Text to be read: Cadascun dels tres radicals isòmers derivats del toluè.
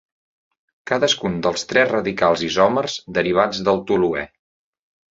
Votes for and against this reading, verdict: 2, 0, accepted